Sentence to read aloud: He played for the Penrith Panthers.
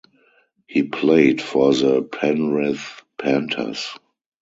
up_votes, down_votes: 2, 2